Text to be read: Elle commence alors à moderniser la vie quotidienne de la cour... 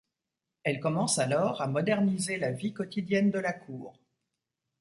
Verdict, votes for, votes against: accepted, 2, 0